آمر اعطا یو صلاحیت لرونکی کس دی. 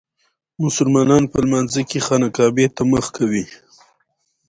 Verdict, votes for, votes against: accepted, 2, 0